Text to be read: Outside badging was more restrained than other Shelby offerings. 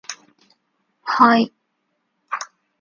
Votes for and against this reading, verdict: 0, 2, rejected